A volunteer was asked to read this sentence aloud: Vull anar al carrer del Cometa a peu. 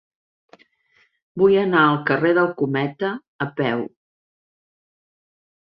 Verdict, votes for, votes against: accepted, 2, 0